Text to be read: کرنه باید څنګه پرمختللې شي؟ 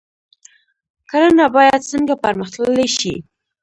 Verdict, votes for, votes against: rejected, 0, 2